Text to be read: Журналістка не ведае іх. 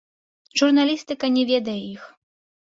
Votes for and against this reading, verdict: 0, 2, rejected